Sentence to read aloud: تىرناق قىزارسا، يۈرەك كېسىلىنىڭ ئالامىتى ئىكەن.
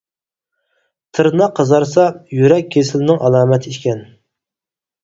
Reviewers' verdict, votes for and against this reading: rejected, 0, 4